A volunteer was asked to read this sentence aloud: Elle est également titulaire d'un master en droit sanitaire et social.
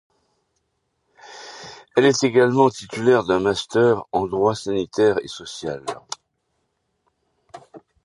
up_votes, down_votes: 2, 0